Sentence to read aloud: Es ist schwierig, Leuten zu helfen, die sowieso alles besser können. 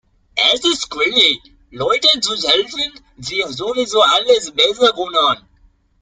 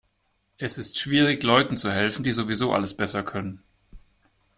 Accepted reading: second